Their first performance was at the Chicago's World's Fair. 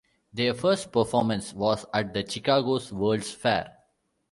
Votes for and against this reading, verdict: 2, 0, accepted